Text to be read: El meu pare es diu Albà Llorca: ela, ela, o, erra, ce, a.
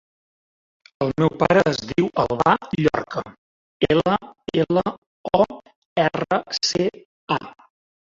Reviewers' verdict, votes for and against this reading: rejected, 1, 2